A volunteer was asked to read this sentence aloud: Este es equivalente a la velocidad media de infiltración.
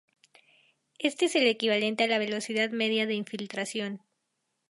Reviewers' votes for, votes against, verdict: 0, 2, rejected